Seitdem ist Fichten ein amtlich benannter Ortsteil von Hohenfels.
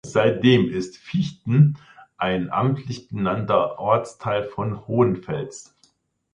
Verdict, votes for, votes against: accepted, 2, 0